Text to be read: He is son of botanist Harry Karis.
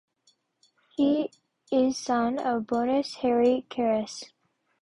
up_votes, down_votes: 1, 2